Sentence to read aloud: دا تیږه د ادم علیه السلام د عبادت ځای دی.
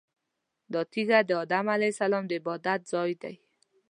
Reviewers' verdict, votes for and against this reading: accepted, 2, 0